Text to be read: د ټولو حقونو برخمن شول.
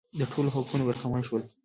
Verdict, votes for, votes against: rejected, 0, 2